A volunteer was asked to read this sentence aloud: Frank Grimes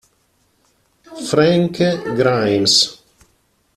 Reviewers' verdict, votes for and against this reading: rejected, 1, 2